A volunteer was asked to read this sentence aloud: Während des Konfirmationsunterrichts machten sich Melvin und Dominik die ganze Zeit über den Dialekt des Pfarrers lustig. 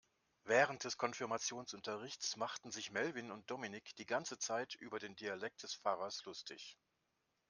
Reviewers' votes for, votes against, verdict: 3, 0, accepted